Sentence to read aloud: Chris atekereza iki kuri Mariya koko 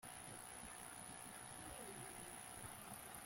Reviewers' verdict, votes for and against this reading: rejected, 1, 2